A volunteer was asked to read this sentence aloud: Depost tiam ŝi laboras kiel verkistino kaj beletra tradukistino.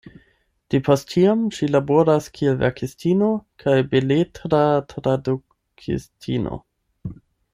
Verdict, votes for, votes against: rejected, 4, 8